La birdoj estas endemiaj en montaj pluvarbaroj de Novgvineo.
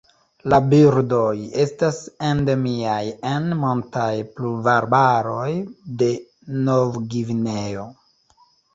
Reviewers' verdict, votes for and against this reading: accepted, 2, 0